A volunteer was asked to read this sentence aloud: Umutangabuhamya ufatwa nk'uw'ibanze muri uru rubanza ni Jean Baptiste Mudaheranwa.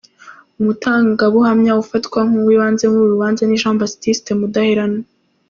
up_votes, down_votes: 2, 1